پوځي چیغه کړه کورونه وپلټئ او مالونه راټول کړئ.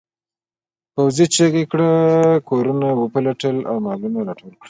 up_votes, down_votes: 2, 1